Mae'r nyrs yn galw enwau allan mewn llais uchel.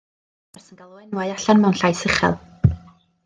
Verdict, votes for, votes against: rejected, 1, 2